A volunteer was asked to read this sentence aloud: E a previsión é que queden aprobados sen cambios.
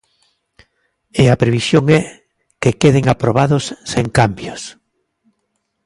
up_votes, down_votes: 2, 1